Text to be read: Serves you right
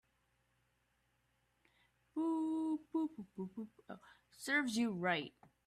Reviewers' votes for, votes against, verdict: 0, 2, rejected